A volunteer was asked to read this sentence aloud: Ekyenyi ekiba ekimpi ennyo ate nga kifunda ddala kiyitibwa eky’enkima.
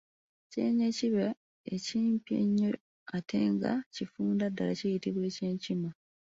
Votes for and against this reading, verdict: 2, 0, accepted